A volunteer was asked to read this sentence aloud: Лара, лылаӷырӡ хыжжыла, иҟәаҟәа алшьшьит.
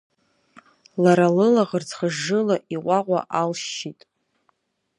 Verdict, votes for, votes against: accepted, 2, 0